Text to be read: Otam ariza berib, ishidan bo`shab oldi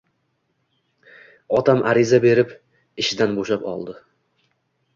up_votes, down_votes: 2, 0